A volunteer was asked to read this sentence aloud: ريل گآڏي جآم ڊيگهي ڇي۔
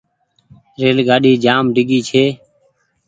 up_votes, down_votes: 2, 0